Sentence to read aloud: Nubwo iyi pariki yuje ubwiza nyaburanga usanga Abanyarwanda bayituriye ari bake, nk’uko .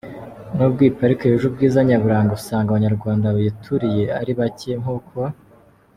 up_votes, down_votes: 2, 0